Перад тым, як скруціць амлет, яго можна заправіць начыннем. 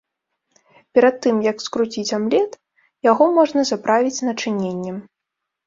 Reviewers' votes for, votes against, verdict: 2, 3, rejected